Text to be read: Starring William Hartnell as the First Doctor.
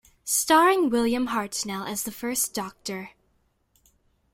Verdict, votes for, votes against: accepted, 2, 0